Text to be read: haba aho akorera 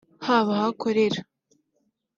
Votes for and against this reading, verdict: 2, 0, accepted